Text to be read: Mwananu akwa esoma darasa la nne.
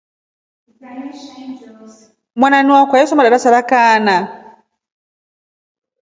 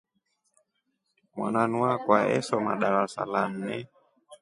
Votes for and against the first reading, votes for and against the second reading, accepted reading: 1, 2, 2, 0, second